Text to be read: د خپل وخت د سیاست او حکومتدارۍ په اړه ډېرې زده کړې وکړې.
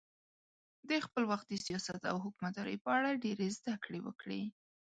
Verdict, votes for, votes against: accepted, 3, 0